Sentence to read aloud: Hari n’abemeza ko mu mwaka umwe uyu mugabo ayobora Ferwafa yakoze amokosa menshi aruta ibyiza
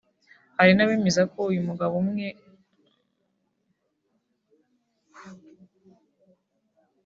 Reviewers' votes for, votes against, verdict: 0, 2, rejected